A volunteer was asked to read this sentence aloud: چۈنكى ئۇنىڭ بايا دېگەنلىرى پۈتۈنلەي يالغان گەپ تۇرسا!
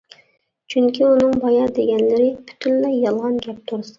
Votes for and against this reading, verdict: 0, 2, rejected